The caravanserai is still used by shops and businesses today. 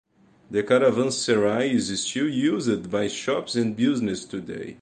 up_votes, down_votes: 2, 2